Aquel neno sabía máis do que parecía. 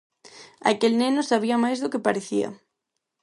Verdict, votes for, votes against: accepted, 6, 0